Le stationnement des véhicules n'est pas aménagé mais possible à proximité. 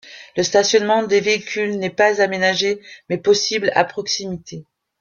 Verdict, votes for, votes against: accepted, 2, 0